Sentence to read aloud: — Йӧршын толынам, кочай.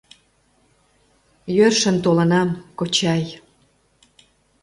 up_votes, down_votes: 2, 0